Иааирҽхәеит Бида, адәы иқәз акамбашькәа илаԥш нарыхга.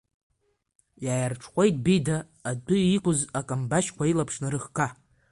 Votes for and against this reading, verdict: 2, 1, accepted